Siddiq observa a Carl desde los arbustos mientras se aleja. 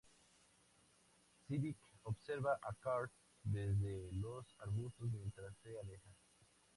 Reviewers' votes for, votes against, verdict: 2, 0, accepted